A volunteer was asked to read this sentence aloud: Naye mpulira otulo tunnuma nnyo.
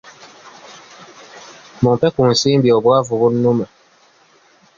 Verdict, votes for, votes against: rejected, 0, 2